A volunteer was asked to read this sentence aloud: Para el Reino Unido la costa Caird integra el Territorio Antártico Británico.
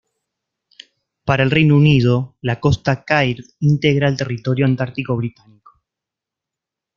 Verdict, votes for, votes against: rejected, 0, 2